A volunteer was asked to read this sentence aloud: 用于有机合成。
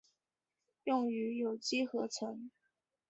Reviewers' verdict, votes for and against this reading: accepted, 2, 0